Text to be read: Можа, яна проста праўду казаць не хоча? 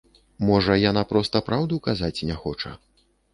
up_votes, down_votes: 2, 0